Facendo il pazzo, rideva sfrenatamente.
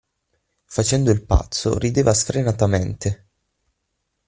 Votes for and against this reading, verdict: 6, 0, accepted